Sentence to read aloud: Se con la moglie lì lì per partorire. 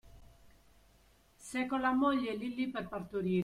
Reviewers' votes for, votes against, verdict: 0, 2, rejected